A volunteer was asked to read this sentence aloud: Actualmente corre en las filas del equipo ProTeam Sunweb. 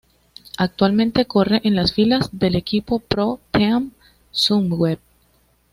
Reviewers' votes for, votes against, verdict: 2, 0, accepted